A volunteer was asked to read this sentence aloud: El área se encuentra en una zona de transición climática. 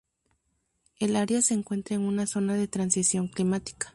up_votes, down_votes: 0, 2